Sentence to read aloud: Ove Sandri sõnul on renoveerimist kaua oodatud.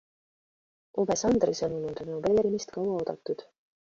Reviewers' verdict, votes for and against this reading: rejected, 0, 2